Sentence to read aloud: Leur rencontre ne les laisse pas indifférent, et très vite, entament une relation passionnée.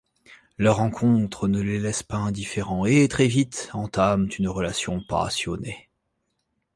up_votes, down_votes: 1, 2